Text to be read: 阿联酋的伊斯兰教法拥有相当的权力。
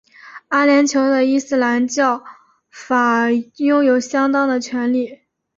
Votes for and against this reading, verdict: 2, 1, accepted